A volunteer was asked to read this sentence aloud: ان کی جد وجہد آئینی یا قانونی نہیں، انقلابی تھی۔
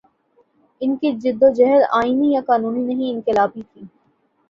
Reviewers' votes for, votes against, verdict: 11, 0, accepted